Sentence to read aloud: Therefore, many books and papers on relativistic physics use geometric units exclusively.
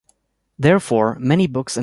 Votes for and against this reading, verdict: 1, 2, rejected